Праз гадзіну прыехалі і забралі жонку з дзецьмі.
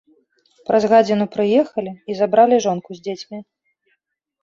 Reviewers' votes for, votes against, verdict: 1, 2, rejected